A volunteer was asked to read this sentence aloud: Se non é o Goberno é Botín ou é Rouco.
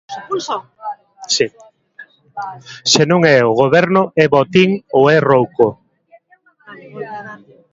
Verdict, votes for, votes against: rejected, 0, 2